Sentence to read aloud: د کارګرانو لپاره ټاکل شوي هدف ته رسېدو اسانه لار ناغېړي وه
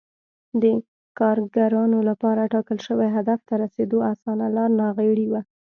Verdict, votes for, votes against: rejected, 1, 2